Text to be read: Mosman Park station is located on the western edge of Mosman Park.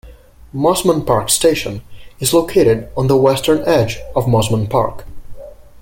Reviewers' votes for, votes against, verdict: 2, 0, accepted